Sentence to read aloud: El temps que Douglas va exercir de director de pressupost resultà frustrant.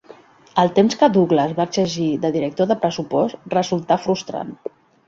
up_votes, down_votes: 1, 2